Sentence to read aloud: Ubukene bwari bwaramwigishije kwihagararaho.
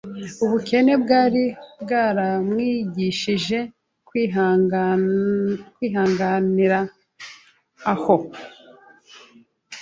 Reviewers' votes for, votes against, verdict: 0, 2, rejected